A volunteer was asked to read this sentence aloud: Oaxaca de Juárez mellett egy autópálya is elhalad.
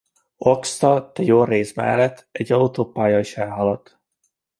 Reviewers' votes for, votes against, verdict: 1, 2, rejected